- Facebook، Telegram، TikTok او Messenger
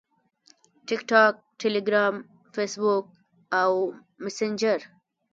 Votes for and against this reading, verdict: 0, 2, rejected